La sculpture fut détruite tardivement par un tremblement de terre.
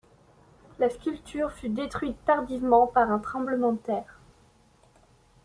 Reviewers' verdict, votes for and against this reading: accepted, 2, 0